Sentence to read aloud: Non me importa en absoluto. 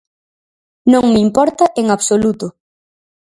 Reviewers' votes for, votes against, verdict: 4, 0, accepted